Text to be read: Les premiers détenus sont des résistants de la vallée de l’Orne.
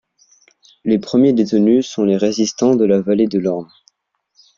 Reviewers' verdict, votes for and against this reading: rejected, 0, 2